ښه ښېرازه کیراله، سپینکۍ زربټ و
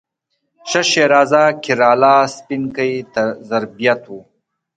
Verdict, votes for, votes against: accepted, 2, 1